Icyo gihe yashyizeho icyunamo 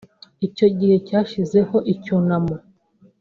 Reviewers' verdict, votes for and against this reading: rejected, 1, 2